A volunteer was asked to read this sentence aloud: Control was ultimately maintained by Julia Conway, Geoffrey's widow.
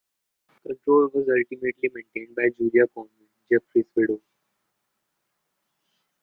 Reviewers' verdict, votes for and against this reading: rejected, 1, 2